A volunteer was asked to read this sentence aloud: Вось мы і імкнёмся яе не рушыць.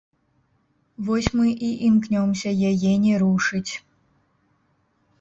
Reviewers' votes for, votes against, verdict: 0, 2, rejected